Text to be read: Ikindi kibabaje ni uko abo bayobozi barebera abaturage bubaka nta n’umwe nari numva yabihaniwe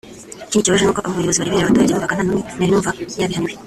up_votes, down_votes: 0, 2